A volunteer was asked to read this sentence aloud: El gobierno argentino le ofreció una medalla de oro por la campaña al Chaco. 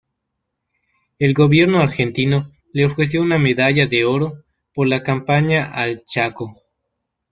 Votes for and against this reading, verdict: 2, 1, accepted